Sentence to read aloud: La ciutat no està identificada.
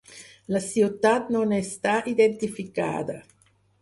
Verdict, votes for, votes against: rejected, 0, 4